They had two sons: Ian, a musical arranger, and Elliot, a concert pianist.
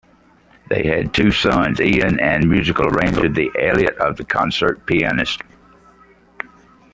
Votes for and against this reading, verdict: 0, 2, rejected